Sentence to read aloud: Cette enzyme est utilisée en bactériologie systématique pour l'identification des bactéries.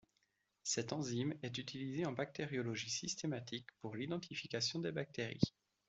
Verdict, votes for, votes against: accepted, 2, 0